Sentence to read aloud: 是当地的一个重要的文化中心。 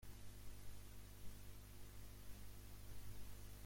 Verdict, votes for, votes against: rejected, 0, 2